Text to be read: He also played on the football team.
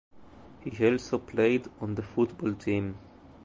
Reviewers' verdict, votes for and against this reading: accepted, 2, 0